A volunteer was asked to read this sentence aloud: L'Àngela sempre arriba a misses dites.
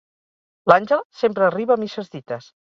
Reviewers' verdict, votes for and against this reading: rejected, 2, 4